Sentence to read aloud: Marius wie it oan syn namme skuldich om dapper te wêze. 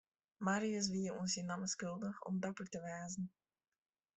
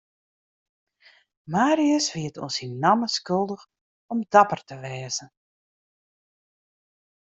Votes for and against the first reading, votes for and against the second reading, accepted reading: 1, 2, 2, 0, second